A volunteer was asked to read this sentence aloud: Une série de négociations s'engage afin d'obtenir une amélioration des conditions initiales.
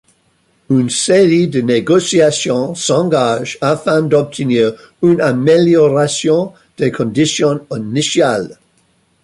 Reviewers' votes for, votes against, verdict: 0, 2, rejected